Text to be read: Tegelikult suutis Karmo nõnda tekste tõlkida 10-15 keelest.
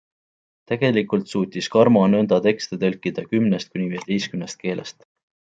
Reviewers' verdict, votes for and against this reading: rejected, 0, 2